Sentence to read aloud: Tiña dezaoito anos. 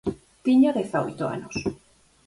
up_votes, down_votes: 4, 0